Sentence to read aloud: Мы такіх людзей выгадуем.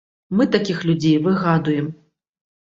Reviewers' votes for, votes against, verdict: 0, 2, rejected